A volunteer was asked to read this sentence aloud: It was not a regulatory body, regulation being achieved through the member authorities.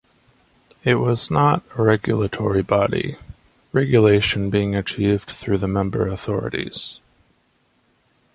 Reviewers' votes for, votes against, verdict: 2, 0, accepted